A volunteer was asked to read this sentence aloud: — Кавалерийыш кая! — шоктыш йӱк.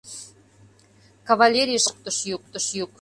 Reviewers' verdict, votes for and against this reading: rejected, 1, 2